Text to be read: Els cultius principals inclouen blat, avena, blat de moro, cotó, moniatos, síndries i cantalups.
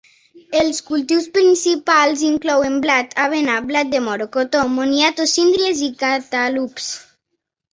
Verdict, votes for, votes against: rejected, 1, 2